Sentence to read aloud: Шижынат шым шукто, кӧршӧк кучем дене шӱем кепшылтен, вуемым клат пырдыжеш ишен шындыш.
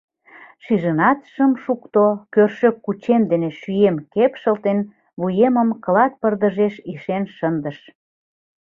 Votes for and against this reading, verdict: 2, 0, accepted